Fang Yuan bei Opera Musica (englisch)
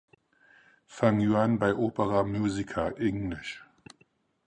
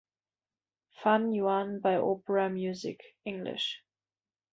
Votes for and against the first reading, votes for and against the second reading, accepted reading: 4, 0, 0, 2, first